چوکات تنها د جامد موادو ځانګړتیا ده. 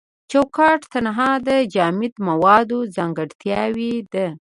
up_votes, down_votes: 1, 2